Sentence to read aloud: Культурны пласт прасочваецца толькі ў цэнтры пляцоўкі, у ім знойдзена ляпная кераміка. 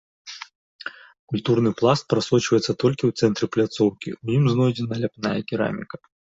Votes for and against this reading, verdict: 2, 0, accepted